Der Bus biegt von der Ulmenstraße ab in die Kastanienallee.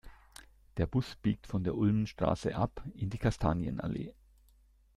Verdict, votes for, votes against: accepted, 2, 0